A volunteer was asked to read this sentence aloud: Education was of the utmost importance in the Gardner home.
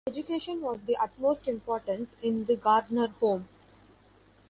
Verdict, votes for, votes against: rejected, 0, 2